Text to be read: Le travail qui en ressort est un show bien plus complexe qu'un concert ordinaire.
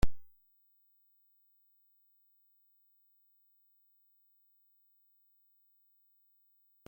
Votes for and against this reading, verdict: 0, 2, rejected